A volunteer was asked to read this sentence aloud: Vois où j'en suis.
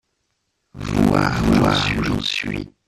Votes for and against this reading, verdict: 0, 2, rejected